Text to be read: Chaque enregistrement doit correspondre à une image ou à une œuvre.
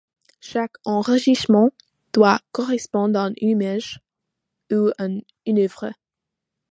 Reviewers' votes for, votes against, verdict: 1, 2, rejected